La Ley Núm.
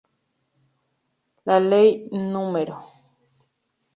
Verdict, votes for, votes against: accepted, 4, 0